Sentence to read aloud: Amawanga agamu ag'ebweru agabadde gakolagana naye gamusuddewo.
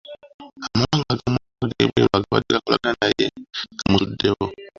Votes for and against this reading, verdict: 0, 2, rejected